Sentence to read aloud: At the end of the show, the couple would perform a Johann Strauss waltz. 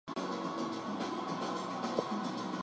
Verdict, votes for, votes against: rejected, 0, 4